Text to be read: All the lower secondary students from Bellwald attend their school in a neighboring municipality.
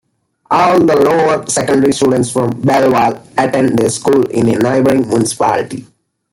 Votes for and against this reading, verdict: 0, 2, rejected